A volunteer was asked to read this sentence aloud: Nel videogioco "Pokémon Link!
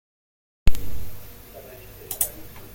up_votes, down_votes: 1, 2